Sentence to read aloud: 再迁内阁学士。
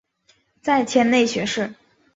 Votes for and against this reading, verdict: 1, 2, rejected